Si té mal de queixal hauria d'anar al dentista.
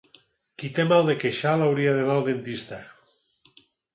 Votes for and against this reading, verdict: 0, 6, rejected